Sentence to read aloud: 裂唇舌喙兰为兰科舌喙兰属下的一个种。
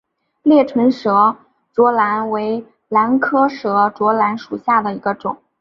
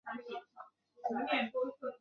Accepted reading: first